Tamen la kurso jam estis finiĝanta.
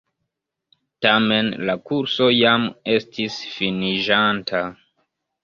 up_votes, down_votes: 0, 2